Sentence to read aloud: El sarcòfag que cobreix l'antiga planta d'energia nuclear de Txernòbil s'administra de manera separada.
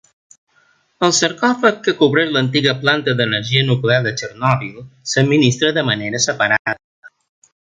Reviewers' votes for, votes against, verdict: 0, 2, rejected